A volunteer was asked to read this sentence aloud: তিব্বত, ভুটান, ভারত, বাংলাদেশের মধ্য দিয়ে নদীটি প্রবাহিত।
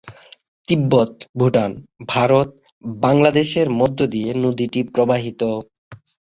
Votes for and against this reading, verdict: 3, 0, accepted